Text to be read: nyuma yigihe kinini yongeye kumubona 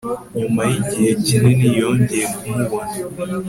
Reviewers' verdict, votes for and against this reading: accepted, 2, 0